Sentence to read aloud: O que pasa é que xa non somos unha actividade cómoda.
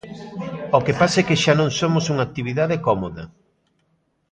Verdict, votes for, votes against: accepted, 2, 0